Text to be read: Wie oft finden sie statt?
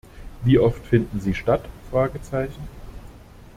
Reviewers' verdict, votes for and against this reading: rejected, 0, 2